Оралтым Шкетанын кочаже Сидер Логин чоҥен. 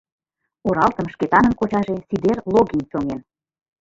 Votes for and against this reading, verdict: 2, 0, accepted